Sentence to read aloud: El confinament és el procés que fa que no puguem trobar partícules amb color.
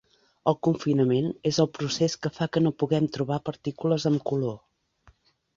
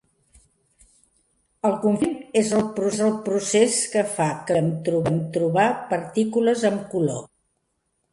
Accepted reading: first